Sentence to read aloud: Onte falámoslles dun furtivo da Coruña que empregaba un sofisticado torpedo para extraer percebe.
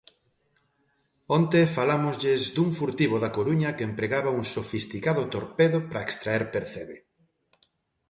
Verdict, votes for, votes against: accepted, 2, 0